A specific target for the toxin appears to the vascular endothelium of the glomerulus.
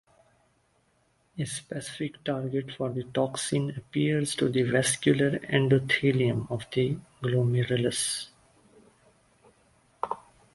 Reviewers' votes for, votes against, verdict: 1, 2, rejected